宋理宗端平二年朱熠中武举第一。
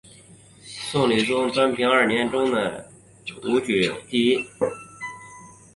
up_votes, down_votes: 2, 1